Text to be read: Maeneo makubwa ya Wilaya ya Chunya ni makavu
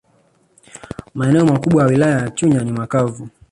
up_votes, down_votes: 1, 2